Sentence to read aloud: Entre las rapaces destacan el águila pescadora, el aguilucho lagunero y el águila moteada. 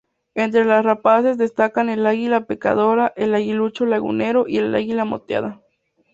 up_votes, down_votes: 2, 0